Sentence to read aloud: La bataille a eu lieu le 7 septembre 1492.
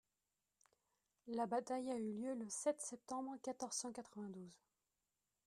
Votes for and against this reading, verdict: 0, 2, rejected